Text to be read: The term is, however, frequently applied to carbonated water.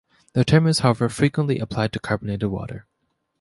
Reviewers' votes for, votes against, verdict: 2, 0, accepted